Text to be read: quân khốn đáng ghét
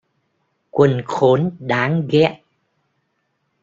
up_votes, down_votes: 2, 1